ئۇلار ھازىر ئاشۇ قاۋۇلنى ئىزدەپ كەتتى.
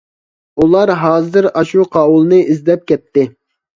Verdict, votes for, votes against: accepted, 2, 0